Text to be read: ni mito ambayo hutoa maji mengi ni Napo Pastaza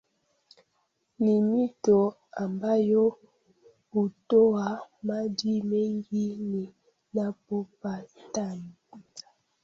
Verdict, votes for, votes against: rejected, 0, 2